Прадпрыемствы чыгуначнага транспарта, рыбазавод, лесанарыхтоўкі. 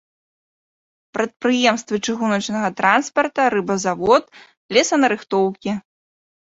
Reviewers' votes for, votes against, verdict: 2, 0, accepted